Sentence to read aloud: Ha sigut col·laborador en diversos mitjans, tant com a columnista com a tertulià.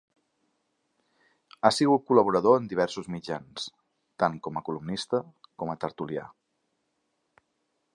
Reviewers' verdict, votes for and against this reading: accepted, 2, 0